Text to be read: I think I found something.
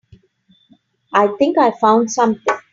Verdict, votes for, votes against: rejected, 0, 2